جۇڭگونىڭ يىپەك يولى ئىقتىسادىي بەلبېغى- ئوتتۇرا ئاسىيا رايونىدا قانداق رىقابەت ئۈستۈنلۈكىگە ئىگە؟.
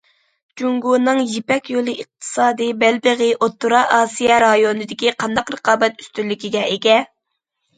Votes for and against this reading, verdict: 1, 2, rejected